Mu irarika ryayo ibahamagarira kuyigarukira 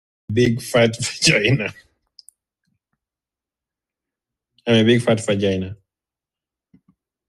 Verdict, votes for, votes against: rejected, 0, 2